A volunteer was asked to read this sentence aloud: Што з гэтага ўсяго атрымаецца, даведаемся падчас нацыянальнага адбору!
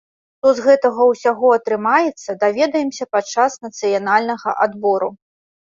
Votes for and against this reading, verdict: 2, 0, accepted